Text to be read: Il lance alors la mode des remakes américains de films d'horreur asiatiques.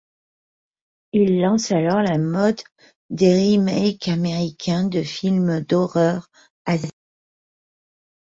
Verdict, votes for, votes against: rejected, 1, 2